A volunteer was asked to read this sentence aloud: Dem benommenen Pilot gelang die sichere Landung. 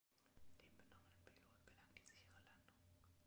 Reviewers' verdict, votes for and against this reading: rejected, 1, 2